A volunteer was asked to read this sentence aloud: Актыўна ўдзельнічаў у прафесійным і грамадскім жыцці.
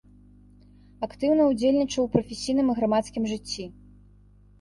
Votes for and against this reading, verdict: 2, 0, accepted